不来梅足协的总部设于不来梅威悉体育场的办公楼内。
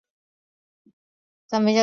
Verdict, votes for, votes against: rejected, 0, 2